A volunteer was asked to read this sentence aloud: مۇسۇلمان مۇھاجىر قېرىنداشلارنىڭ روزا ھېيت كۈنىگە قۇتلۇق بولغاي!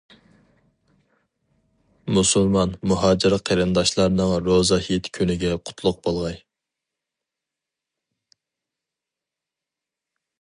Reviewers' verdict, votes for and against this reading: rejected, 2, 2